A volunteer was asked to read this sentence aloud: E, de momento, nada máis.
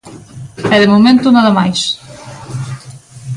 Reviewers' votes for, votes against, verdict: 2, 0, accepted